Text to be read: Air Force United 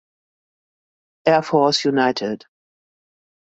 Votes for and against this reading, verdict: 2, 0, accepted